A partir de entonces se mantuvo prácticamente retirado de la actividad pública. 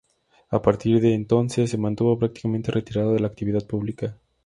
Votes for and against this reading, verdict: 2, 0, accepted